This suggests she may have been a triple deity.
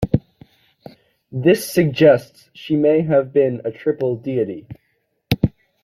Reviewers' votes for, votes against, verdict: 2, 0, accepted